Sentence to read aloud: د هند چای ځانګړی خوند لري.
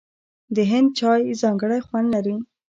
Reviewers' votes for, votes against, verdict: 1, 2, rejected